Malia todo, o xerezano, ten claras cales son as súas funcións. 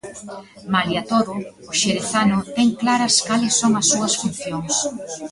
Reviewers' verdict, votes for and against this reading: rejected, 1, 2